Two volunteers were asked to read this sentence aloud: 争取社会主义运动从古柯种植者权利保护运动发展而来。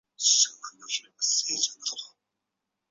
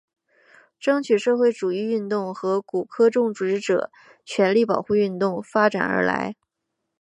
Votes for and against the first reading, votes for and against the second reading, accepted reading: 0, 4, 4, 0, second